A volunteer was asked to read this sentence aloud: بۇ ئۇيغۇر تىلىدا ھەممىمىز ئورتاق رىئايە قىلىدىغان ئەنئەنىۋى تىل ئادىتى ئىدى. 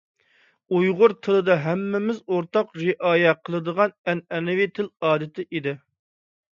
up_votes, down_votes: 0, 2